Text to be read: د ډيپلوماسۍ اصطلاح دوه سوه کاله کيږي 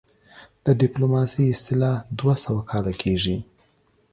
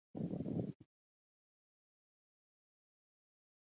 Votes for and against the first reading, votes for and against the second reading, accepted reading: 2, 0, 0, 2, first